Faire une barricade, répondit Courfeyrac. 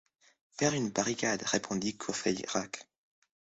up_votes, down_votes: 2, 0